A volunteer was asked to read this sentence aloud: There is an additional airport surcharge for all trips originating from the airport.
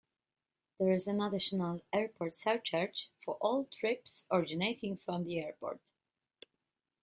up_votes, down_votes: 2, 0